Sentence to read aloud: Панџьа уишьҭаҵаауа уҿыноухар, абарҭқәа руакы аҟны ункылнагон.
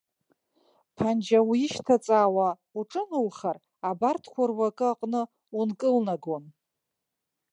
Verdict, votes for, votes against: rejected, 0, 2